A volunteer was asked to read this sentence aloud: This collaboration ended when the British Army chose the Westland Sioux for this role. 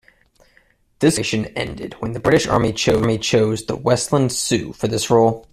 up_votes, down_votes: 1, 2